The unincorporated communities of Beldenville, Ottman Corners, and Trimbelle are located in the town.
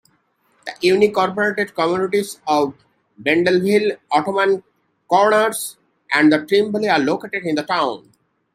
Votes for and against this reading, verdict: 2, 1, accepted